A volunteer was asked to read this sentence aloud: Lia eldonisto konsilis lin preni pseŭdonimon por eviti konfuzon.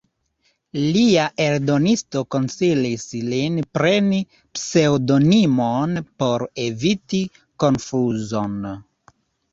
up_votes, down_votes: 2, 0